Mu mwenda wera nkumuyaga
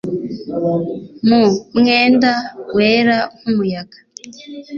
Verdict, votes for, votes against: accepted, 2, 0